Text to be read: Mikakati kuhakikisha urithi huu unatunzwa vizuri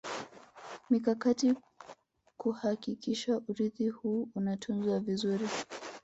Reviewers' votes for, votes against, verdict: 1, 2, rejected